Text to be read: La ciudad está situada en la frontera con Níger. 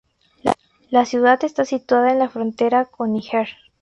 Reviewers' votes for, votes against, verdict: 2, 0, accepted